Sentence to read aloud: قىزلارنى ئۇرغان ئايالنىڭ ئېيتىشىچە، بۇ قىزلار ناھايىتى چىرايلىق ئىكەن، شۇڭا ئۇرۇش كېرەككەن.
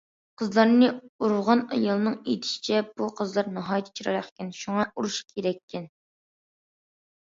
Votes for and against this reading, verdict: 2, 0, accepted